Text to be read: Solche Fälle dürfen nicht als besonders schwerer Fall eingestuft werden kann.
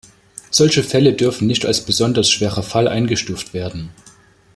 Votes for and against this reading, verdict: 2, 1, accepted